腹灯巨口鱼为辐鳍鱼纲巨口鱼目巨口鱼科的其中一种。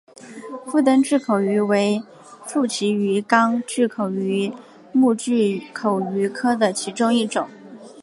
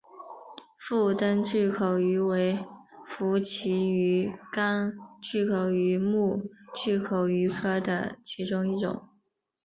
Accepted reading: second